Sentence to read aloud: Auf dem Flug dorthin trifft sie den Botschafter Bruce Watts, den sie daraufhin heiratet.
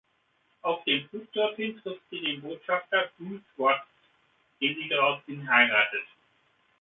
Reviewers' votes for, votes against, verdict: 2, 1, accepted